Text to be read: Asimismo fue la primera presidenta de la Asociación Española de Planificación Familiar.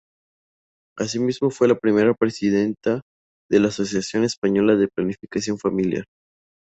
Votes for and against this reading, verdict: 2, 0, accepted